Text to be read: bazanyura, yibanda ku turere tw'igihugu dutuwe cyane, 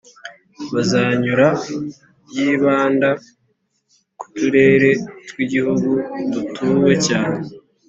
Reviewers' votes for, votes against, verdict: 3, 0, accepted